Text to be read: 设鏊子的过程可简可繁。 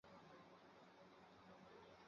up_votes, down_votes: 0, 3